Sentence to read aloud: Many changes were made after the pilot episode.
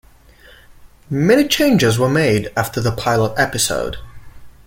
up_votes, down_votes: 2, 0